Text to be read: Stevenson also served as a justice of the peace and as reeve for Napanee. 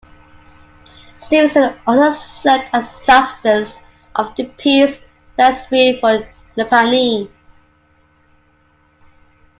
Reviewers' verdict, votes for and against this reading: rejected, 0, 2